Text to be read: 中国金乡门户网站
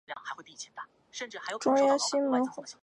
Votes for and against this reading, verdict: 0, 4, rejected